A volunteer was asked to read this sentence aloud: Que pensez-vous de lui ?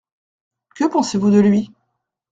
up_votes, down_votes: 1, 2